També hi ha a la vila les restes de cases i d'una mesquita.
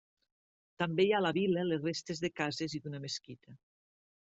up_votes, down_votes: 1, 2